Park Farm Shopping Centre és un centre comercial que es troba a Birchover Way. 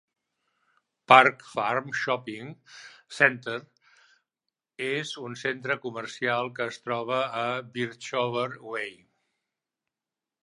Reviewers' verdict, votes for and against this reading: rejected, 0, 2